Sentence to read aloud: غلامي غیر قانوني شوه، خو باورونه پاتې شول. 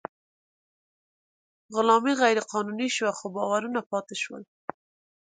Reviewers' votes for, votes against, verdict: 2, 0, accepted